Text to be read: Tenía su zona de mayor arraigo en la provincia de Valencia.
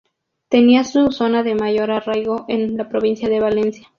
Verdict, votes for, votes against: accepted, 2, 0